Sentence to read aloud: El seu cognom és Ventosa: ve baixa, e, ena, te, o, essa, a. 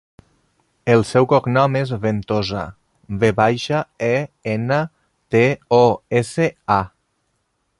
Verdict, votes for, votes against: rejected, 0, 2